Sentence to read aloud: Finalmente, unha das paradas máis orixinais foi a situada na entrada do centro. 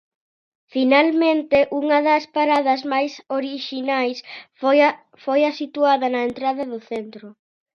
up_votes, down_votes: 0, 2